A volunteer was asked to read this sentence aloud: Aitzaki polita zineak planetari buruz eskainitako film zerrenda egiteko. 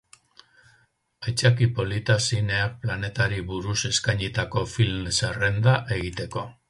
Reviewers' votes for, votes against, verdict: 2, 0, accepted